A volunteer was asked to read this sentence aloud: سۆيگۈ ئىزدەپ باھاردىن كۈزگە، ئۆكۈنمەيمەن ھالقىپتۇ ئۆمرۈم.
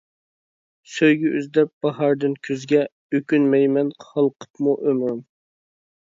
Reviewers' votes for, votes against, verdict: 0, 2, rejected